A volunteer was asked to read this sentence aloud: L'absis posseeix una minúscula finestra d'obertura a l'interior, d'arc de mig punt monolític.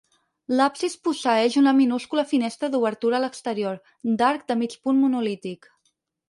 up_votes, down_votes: 0, 4